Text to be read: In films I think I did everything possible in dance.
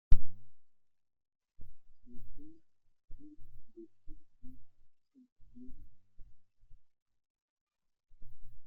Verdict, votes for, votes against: rejected, 0, 2